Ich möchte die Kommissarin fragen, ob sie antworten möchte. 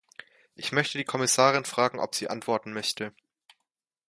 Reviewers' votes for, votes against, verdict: 2, 0, accepted